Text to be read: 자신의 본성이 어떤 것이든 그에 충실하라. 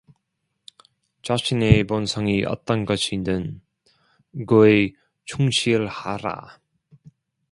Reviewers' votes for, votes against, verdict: 0, 2, rejected